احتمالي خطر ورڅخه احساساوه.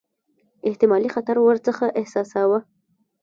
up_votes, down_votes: 0, 2